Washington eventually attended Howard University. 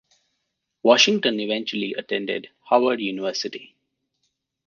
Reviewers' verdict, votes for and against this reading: accepted, 2, 0